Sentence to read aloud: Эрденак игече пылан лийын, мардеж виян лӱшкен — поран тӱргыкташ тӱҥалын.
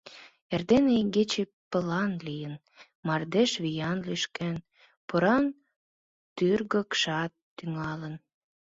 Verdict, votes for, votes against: rejected, 0, 3